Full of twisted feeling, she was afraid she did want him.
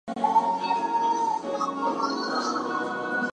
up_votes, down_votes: 0, 4